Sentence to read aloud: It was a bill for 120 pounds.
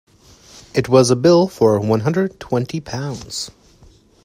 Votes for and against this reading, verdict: 0, 2, rejected